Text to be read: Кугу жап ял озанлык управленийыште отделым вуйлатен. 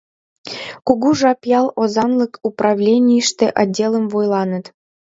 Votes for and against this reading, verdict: 2, 0, accepted